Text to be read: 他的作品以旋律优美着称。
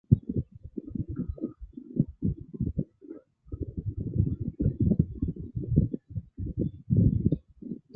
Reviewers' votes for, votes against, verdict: 0, 2, rejected